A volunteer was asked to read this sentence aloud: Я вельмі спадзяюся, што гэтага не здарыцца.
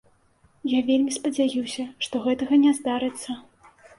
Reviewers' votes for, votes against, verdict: 2, 0, accepted